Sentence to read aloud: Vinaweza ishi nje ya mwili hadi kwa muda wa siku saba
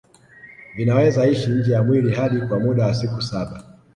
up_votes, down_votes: 1, 2